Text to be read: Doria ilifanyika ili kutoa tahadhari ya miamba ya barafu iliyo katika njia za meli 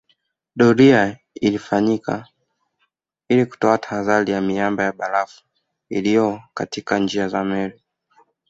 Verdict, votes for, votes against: accepted, 2, 0